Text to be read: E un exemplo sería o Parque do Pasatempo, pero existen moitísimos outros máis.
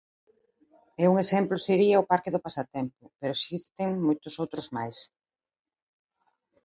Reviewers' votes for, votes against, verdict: 0, 2, rejected